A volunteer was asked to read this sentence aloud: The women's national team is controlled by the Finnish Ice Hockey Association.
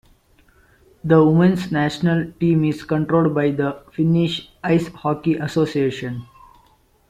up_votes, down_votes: 1, 2